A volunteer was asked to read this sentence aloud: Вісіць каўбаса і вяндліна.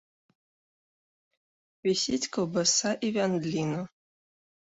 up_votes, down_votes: 2, 0